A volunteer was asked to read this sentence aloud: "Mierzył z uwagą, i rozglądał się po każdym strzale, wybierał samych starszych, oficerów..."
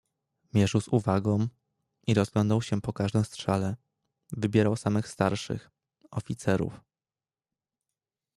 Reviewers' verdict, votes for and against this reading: accepted, 2, 0